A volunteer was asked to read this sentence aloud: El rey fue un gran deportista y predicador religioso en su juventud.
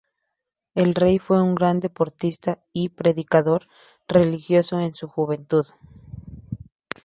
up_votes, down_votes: 4, 2